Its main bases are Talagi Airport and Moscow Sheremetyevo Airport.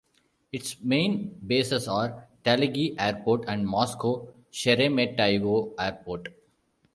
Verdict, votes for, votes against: accepted, 2, 1